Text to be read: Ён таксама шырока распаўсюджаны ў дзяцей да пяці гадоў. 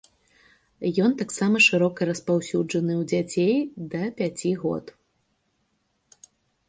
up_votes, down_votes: 0, 2